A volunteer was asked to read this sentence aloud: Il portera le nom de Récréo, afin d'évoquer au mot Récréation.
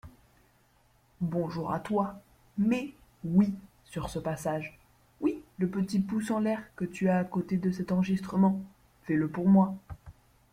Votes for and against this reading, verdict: 0, 2, rejected